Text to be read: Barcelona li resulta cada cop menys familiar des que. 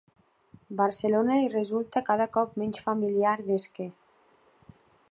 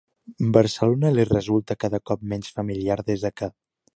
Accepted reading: first